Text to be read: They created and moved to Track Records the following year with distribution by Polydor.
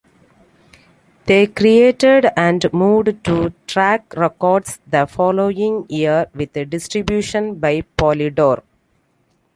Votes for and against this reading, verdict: 2, 0, accepted